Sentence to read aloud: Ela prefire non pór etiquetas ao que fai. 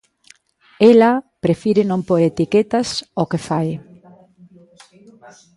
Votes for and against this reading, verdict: 1, 2, rejected